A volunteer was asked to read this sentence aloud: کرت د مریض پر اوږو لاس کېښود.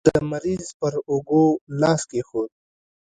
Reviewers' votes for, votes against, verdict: 2, 1, accepted